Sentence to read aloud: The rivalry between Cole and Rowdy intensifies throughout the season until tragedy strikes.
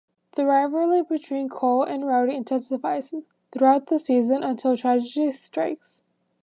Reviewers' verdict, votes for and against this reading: accepted, 2, 1